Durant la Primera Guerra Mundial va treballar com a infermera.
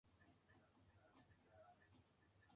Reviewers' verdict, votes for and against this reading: rejected, 1, 2